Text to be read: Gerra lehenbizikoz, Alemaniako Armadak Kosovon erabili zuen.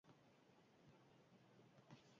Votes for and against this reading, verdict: 0, 4, rejected